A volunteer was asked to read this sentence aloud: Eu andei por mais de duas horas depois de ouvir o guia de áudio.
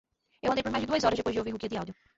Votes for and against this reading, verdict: 2, 0, accepted